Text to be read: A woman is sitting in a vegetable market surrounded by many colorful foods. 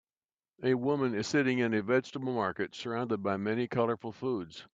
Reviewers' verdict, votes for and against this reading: accepted, 2, 0